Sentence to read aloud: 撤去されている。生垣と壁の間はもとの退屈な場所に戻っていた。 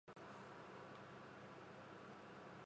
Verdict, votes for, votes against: rejected, 1, 3